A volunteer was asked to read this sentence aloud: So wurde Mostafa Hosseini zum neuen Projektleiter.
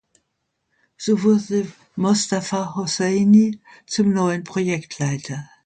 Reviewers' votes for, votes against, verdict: 0, 2, rejected